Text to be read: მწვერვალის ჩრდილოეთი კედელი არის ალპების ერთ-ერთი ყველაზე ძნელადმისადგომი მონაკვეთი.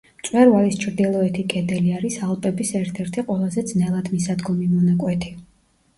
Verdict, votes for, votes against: accepted, 2, 0